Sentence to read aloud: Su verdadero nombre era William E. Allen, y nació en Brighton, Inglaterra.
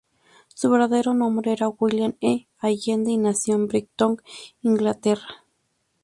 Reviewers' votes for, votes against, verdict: 0, 2, rejected